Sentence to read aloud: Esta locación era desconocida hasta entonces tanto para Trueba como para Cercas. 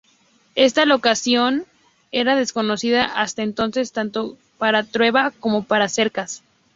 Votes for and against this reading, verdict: 2, 0, accepted